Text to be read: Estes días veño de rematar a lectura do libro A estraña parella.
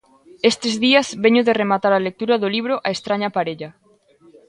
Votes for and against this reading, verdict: 2, 0, accepted